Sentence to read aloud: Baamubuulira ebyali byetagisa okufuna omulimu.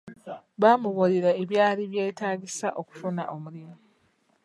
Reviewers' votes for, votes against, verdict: 3, 0, accepted